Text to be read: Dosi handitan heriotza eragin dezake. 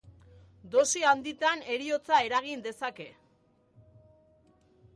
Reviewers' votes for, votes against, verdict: 2, 0, accepted